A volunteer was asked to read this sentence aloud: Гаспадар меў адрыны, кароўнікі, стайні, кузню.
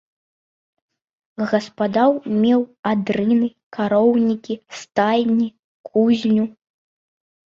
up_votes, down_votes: 2, 0